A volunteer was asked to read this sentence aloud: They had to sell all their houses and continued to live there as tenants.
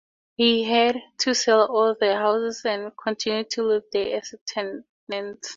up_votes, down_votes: 0, 4